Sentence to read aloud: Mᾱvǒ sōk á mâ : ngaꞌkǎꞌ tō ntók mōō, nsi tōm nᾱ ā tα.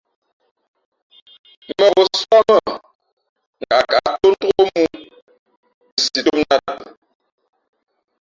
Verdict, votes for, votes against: rejected, 0, 2